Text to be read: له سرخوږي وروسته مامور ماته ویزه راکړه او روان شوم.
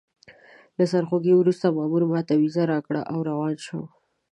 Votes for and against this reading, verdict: 2, 0, accepted